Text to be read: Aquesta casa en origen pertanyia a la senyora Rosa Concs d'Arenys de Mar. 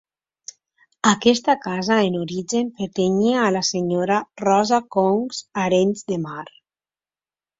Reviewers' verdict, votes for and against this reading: rejected, 1, 2